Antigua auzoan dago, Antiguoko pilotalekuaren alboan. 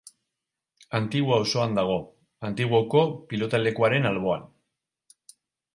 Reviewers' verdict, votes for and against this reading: rejected, 2, 2